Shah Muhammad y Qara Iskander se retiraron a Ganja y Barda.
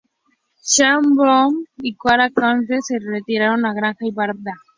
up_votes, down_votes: 0, 2